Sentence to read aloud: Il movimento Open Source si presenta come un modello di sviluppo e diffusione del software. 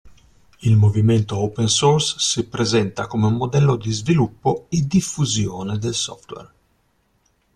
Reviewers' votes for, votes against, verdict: 2, 0, accepted